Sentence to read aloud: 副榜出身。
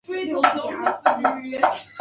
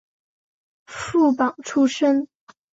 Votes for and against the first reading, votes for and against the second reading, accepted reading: 0, 2, 2, 0, second